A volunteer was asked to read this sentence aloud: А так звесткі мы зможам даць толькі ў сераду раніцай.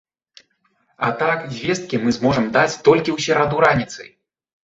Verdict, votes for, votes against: accepted, 2, 0